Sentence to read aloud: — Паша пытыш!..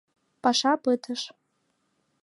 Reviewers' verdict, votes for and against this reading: accepted, 2, 0